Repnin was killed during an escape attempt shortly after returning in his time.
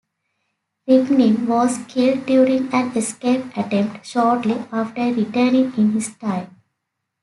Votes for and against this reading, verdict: 2, 1, accepted